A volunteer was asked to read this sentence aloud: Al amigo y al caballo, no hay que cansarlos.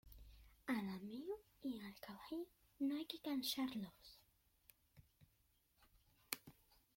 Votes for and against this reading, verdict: 1, 2, rejected